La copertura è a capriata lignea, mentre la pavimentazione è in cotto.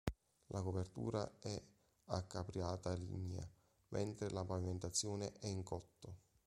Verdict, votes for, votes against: accepted, 2, 1